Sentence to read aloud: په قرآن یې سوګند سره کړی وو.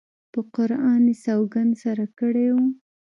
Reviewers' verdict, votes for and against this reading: rejected, 1, 2